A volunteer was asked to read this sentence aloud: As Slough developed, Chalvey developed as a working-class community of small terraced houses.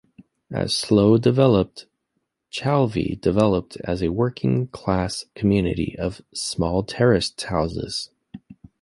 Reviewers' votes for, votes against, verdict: 1, 2, rejected